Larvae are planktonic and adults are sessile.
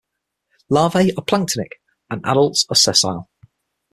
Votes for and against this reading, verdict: 6, 3, accepted